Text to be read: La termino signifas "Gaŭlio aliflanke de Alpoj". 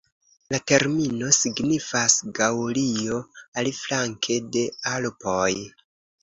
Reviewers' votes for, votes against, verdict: 2, 0, accepted